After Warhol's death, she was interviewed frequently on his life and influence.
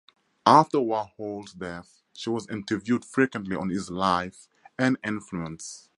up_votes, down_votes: 4, 2